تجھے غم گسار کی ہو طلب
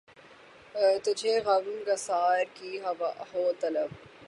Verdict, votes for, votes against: rejected, 0, 3